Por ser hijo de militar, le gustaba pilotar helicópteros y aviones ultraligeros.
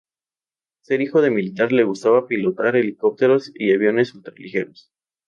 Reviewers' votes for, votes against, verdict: 0, 2, rejected